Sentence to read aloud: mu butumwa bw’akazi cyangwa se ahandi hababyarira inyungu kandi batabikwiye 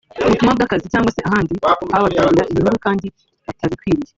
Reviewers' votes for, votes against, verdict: 0, 2, rejected